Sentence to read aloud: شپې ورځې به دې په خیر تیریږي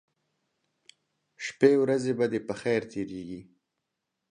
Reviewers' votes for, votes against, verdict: 2, 0, accepted